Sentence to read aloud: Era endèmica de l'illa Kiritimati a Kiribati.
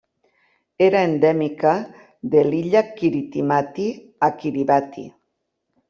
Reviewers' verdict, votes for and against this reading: accepted, 3, 0